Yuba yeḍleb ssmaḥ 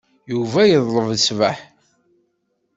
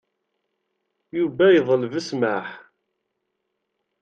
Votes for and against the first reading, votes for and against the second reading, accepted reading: 1, 2, 2, 0, second